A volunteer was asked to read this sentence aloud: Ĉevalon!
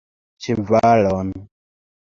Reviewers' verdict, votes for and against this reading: accepted, 2, 1